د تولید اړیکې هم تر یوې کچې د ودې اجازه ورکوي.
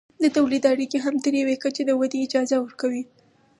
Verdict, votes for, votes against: accepted, 4, 0